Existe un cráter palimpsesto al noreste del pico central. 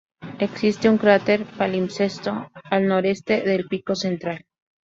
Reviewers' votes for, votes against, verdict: 2, 0, accepted